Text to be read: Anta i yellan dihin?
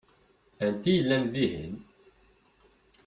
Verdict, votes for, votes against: accepted, 2, 0